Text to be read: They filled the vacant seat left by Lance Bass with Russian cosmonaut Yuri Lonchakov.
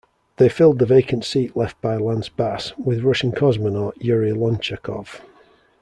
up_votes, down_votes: 3, 0